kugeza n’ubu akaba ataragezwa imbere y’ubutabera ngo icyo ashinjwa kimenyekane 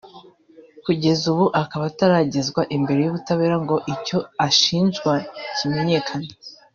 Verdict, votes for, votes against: rejected, 0, 2